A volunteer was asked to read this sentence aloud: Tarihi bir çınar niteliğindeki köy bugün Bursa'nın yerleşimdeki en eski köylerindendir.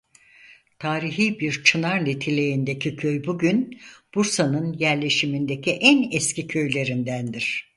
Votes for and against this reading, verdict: 0, 4, rejected